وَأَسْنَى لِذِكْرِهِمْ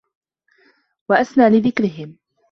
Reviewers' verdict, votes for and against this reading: accepted, 2, 0